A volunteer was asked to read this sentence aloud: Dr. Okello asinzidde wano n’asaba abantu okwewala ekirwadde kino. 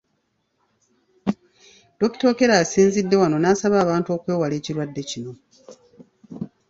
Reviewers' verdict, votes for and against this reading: accepted, 2, 0